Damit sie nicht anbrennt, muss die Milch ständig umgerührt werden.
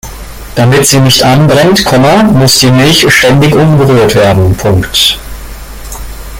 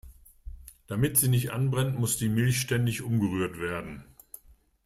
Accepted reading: second